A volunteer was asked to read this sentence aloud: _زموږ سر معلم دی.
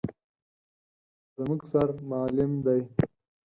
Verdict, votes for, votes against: accepted, 4, 0